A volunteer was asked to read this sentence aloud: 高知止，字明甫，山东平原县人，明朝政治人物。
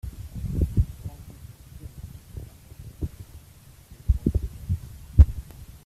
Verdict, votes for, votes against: rejected, 0, 3